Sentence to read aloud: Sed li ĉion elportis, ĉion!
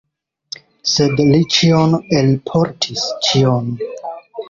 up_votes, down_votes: 2, 0